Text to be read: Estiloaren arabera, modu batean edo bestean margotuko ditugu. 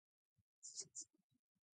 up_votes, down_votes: 0, 4